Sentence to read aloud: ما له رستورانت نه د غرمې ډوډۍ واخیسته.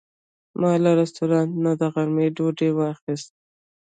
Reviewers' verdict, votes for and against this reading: rejected, 0, 2